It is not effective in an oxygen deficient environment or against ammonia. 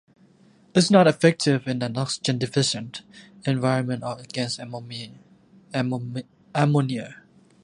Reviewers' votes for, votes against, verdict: 0, 2, rejected